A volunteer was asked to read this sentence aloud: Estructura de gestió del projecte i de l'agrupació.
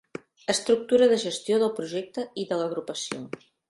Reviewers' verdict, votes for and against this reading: accepted, 2, 0